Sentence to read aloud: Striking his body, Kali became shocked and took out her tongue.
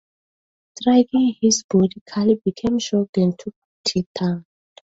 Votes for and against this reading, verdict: 0, 5, rejected